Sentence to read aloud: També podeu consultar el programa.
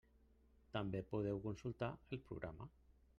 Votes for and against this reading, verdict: 1, 2, rejected